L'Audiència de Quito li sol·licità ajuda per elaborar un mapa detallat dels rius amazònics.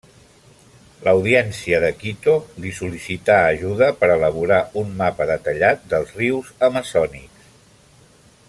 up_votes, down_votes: 1, 2